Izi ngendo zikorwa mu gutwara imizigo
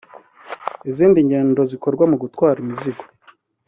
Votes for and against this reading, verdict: 3, 0, accepted